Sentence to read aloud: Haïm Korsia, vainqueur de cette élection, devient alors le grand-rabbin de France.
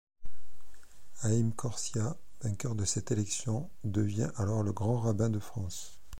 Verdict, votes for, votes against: accepted, 2, 0